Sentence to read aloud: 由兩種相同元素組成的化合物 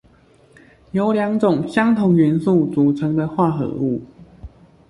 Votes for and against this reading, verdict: 2, 1, accepted